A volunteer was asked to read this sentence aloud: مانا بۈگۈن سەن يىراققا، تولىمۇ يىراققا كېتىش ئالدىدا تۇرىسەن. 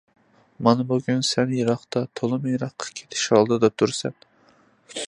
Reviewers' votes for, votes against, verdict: 2, 0, accepted